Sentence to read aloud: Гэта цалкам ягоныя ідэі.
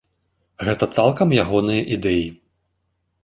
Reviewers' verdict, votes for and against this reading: accepted, 2, 0